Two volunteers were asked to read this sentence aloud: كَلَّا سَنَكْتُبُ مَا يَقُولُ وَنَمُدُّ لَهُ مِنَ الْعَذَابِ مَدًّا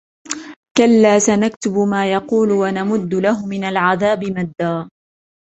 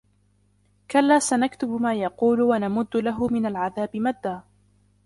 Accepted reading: first